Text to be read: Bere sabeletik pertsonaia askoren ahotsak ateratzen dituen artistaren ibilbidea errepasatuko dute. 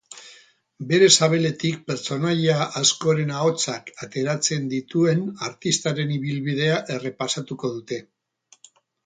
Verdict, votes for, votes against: rejected, 2, 2